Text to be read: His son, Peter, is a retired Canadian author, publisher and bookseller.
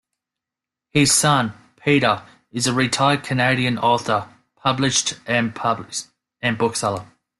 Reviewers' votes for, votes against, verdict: 0, 2, rejected